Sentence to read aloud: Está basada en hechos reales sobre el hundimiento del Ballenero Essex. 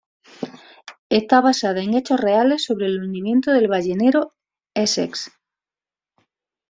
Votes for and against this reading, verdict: 2, 0, accepted